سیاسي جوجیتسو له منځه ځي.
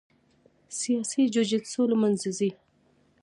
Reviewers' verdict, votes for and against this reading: accepted, 2, 1